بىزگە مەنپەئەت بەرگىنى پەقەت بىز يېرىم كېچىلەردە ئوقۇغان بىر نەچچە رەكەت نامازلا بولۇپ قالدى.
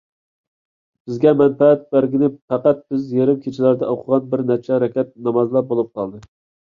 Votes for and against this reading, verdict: 2, 0, accepted